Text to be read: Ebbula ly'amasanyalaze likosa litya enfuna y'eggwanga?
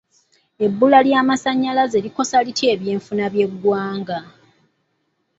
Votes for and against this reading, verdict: 2, 0, accepted